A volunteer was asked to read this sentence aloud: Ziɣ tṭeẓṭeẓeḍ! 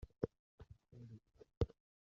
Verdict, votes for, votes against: rejected, 0, 2